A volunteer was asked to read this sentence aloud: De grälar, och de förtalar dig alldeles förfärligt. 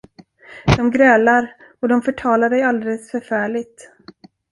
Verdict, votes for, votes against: rejected, 1, 2